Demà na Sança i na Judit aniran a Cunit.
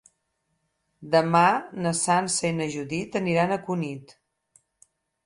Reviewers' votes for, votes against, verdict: 8, 0, accepted